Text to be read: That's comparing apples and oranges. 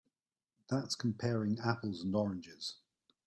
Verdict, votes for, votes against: accepted, 2, 0